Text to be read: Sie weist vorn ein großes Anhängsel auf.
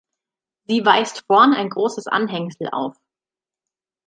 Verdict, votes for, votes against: accepted, 2, 0